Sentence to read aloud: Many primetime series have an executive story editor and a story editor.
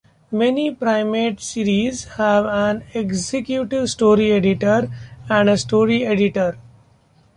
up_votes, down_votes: 0, 2